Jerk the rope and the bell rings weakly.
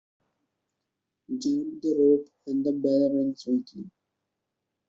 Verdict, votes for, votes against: rejected, 0, 2